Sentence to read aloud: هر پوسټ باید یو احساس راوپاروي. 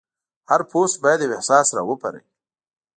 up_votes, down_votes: 1, 2